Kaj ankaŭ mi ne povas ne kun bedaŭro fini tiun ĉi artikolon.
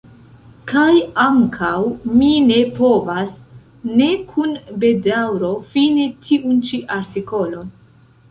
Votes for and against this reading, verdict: 2, 0, accepted